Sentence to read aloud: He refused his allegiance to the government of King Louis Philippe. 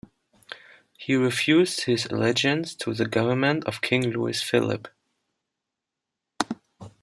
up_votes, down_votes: 2, 0